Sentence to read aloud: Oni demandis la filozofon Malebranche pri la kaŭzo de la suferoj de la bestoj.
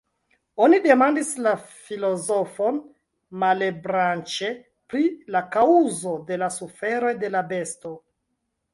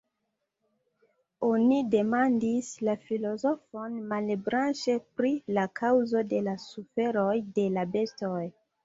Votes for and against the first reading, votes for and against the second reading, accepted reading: 1, 2, 2, 1, second